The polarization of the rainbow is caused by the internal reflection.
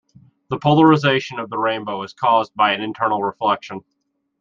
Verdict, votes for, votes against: rejected, 1, 2